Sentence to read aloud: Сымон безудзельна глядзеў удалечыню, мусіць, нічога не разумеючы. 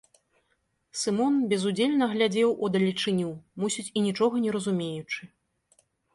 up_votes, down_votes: 1, 2